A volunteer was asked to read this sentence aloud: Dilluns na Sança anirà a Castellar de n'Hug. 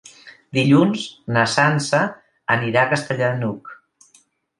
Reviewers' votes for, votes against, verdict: 3, 0, accepted